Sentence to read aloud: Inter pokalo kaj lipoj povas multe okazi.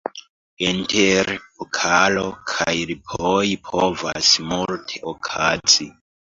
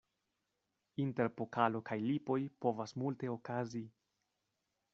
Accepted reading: second